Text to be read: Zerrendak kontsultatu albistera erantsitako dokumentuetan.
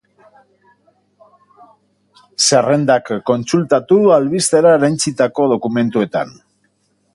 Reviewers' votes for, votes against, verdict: 2, 0, accepted